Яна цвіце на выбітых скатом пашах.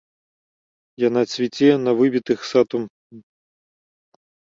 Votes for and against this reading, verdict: 0, 2, rejected